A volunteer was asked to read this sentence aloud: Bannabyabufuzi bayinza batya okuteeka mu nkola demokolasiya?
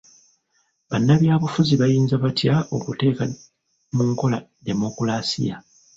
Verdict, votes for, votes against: rejected, 0, 2